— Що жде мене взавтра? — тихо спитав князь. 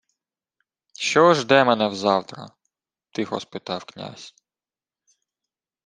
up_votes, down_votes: 2, 0